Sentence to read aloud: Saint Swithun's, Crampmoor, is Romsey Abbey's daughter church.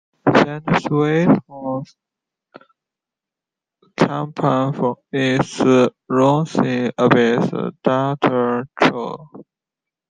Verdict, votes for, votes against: rejected, 0, 2